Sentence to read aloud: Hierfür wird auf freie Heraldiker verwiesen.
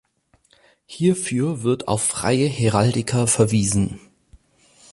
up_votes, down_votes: 4, 0